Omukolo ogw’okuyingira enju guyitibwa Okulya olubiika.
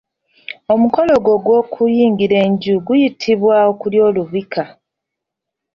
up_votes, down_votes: 1, 2